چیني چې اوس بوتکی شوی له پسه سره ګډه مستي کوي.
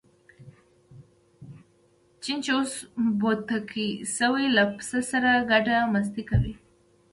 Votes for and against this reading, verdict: 1, 2, rejected